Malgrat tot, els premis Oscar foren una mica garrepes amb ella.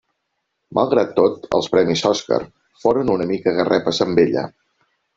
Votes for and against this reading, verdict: 3, 0, accepted